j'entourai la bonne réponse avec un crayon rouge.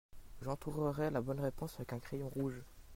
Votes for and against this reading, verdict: 0, 2, rejected